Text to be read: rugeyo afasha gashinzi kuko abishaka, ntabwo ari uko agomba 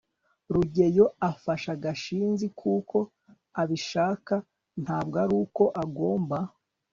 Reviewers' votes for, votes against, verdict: 0, 2, rejected